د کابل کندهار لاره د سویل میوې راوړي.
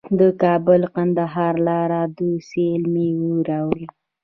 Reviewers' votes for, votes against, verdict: 1, 2, rejected